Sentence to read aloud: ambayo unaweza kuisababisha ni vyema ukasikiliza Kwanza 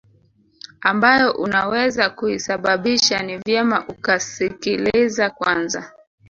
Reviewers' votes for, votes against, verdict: 3, 0, accepted